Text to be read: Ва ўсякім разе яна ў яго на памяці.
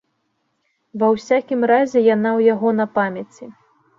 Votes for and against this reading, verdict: 2, 0, accepted